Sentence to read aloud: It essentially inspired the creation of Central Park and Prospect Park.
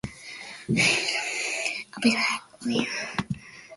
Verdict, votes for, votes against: rejected, 0, 2